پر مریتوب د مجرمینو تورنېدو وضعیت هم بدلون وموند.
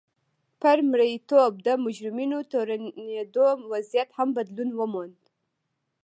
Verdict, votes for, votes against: rejected, 1, 2